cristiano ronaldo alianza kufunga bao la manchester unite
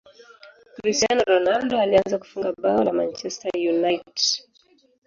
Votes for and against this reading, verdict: 0, 3, rejected